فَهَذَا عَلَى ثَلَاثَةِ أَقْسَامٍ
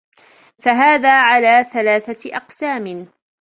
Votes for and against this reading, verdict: 2, 1, accepted